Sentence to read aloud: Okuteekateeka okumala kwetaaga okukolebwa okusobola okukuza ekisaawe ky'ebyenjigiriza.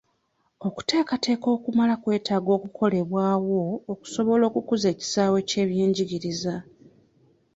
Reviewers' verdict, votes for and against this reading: rejected, 0, 2